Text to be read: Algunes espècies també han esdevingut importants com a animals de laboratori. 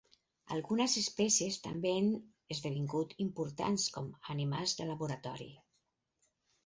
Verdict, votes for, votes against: rejected, 0, 4